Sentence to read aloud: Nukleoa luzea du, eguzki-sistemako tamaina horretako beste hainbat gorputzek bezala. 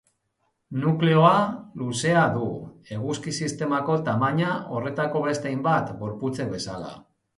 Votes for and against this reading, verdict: 3, 1, accepted